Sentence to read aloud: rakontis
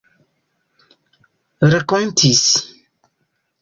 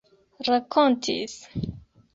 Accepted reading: second